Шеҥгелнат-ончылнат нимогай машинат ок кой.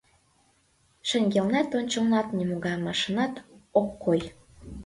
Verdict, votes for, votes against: rejected, 1, 2